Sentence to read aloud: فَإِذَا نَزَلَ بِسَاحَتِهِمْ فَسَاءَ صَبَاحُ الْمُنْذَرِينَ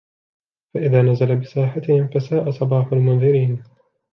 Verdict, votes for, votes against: rejected, 0, 2